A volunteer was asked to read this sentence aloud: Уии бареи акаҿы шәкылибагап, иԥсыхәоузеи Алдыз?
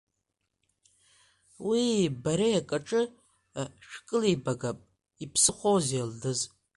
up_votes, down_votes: 0, 2